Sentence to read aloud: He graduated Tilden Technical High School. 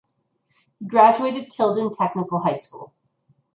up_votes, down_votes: 1, 2